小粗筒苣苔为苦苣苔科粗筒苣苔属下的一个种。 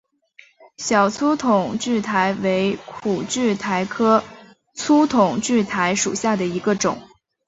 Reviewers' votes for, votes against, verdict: 2, 1, accepted